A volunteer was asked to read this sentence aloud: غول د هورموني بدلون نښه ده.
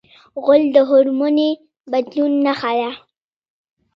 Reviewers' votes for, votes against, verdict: 2, 1, accepted